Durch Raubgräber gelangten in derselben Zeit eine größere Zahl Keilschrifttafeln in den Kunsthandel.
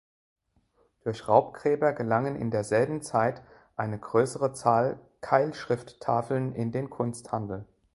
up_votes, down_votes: 0, 2